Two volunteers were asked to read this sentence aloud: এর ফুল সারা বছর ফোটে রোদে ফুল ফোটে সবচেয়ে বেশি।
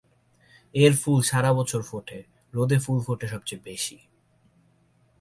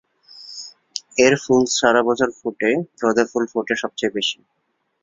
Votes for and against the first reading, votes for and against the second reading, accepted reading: 2, 0, 0, 4, first